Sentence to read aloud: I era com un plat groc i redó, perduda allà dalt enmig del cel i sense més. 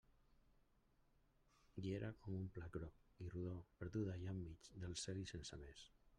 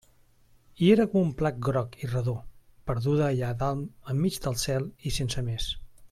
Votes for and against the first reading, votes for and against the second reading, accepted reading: 0, 2, 2, 0, second